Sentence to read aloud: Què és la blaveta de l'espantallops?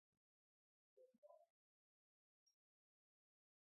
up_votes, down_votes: 1, 3